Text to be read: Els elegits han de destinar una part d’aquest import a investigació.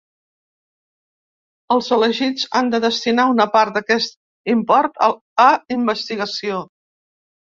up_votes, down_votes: 1, 2